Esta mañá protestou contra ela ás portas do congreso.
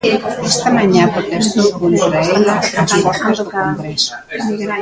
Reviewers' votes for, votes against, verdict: 0, 2, rejected